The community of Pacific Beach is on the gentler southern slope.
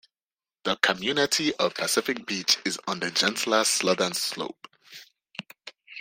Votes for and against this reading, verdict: 0, 2, rejected